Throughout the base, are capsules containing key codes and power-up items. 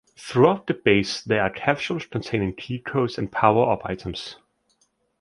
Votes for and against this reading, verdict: 1, 2, rejected